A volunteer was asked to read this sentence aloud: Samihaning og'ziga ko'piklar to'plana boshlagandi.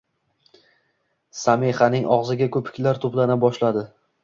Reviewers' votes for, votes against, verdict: 1, 2, rejected